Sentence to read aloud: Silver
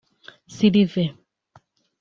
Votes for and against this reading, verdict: 1, 2, rejected